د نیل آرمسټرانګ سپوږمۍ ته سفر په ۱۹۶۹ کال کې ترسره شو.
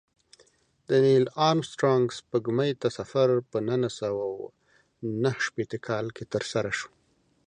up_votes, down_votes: 0, 2